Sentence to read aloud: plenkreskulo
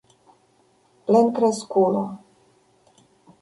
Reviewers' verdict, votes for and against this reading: rejected, 0, 2